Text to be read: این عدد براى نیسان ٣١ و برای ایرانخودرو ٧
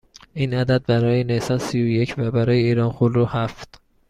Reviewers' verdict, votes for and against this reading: rejected, 0, 2